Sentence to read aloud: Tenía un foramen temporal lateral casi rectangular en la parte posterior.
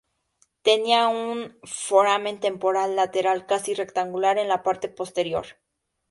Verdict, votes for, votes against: accepted, 2, 0